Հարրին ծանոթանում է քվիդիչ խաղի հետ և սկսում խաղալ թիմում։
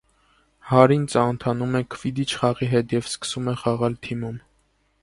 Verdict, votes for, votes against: rejected, 0, 2